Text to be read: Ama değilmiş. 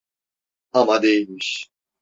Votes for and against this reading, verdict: 2, 0, accepted